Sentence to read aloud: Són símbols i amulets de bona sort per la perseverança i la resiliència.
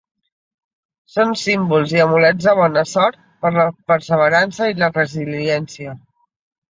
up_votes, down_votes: 3, 0